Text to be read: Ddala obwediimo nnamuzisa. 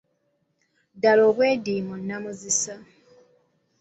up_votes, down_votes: 2, 0